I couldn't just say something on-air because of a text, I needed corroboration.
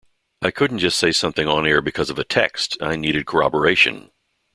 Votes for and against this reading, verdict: 2, 0, accepted